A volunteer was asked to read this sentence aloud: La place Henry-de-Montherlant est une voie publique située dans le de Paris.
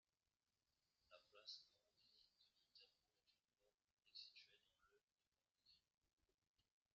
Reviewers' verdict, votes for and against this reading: rejected, 0, 2